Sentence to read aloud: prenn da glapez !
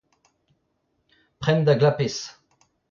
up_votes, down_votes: 2, 1